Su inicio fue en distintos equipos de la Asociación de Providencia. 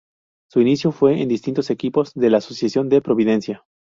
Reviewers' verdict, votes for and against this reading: accepted, 8, 0